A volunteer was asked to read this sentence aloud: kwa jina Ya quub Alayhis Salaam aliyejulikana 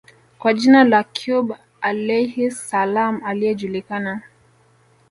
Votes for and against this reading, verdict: 1, 2, rejected